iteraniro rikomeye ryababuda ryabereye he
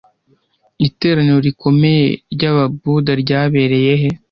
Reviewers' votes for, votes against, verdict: 2, 0, accepted